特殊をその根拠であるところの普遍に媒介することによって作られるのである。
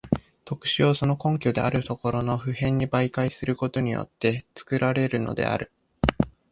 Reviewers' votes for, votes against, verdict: 2, 0, accepted